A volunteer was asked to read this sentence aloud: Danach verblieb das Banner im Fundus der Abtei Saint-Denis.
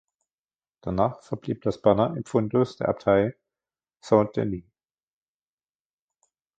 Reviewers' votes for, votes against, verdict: 2, 0, accepted